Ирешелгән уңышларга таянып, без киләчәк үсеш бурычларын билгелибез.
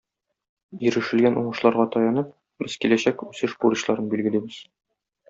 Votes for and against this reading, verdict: 1, 2, rejected